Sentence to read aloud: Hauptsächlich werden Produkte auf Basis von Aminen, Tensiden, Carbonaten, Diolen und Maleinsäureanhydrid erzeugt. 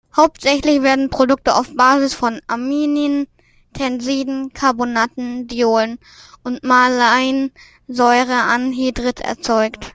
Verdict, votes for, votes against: rejected, 0, 2